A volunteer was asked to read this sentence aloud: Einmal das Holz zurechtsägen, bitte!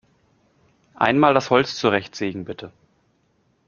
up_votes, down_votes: 2, 0